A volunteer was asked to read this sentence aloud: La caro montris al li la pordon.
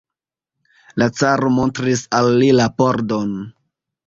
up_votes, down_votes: 0, 2